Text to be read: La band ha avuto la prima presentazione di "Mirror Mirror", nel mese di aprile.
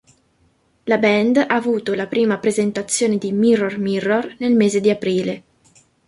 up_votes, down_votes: 2, 0